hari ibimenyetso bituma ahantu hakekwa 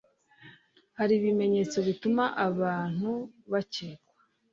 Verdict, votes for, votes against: rejected, 1, 2